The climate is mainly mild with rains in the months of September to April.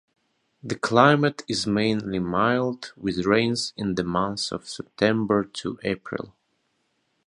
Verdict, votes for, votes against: accepted, 2, 0